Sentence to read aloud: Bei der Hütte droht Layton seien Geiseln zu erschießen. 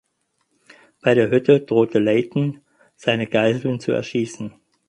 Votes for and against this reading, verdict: 0, 6, rejected